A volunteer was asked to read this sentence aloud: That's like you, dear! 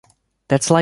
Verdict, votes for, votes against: rejected, 0, 2